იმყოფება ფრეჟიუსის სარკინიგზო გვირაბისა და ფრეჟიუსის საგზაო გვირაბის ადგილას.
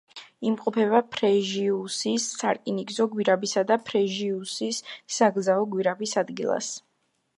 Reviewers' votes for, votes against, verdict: 1, 2, rejected